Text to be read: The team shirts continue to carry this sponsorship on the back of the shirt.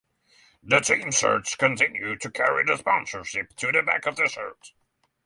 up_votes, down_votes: 0, 3